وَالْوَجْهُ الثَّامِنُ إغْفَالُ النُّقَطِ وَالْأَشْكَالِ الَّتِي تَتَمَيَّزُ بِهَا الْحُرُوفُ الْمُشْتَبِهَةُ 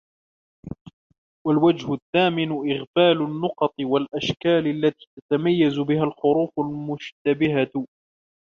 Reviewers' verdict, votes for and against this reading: rejected, 1, 2